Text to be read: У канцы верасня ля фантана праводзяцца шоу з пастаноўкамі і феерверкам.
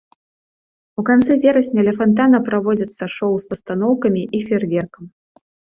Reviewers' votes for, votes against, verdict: 2, 0, accepted